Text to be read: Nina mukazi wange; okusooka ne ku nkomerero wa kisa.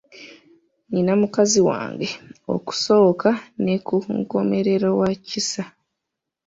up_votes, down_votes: 1, 2